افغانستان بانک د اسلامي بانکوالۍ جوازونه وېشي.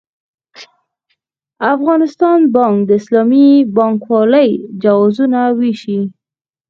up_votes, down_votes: 0, 4